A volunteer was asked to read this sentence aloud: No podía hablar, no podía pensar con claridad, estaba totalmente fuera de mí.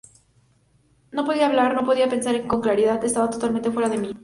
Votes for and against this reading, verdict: 2, 0, accepted